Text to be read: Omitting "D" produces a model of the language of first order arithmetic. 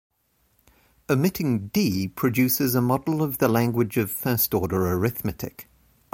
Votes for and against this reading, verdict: 2, 0, accepted